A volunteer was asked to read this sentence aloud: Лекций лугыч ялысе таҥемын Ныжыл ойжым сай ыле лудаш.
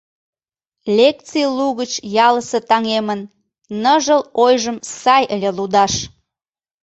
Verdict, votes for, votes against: accepted, 2, 0